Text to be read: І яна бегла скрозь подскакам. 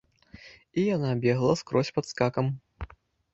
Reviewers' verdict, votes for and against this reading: rejected, 0, 2